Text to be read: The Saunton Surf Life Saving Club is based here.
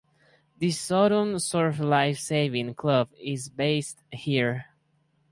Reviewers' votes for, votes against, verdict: 6, 2, accepted